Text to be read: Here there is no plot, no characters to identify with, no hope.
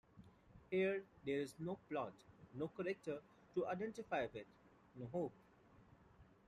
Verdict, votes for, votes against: accepted, 2, 0